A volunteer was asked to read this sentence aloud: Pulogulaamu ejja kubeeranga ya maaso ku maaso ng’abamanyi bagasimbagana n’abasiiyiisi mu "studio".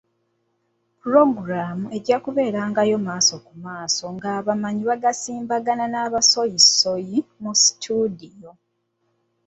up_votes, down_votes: 0, 2